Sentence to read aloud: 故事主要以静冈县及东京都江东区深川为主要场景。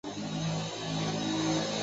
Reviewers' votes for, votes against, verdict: 0, 4, rejected